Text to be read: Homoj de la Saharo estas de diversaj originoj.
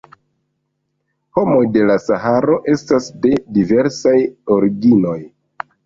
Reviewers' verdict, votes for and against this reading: rejected, 1, 2